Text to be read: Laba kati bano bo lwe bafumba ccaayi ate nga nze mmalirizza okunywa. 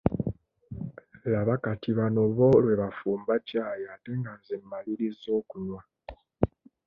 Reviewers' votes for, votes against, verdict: 2, 0, accepted